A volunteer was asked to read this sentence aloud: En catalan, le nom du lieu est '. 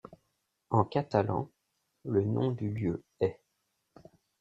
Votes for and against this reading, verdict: 2, 0, accepted